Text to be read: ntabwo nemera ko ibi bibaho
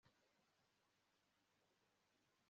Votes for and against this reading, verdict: 1, 2, rejected